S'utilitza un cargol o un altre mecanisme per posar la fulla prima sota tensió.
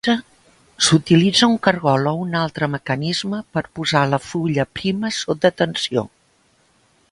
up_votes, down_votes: 0, 2